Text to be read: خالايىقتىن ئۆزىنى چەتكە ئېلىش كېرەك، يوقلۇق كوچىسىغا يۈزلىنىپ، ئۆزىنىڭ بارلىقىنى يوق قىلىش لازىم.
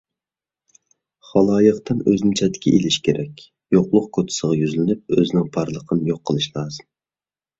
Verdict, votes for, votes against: accepted, 2, 0